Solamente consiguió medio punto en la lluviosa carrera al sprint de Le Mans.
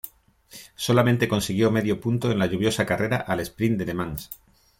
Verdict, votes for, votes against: accepted, 2, 0